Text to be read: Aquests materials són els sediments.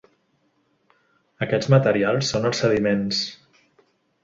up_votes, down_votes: 2, 0